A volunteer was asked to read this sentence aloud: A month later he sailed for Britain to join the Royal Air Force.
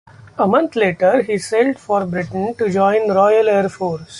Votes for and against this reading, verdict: 1, 2, rejected